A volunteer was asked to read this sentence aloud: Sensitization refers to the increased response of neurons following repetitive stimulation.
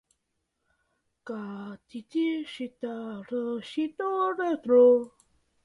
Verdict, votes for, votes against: rejected, 0, 2